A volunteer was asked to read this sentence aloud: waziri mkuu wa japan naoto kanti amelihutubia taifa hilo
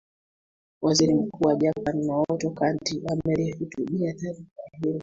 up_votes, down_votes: 2, 1